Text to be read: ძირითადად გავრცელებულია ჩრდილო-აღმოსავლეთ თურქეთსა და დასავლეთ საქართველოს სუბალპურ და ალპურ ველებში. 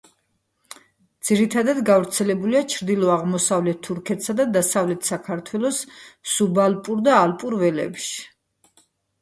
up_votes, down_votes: 1, 2